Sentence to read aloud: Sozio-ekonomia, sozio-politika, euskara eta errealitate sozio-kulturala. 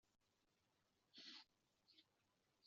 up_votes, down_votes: 1, 2